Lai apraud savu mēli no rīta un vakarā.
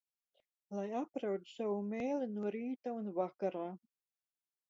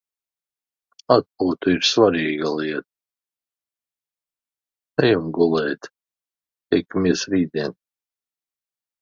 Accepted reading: first